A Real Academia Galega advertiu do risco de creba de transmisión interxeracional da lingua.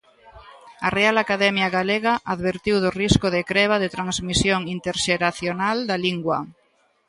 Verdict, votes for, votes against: accepted, 3, 0